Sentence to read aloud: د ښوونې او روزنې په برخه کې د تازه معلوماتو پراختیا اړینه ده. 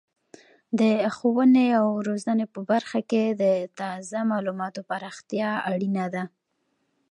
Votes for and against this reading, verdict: 2, 0, accepted